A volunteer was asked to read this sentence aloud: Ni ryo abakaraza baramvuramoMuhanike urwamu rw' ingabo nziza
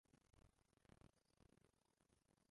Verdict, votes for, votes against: rejected, 0, 2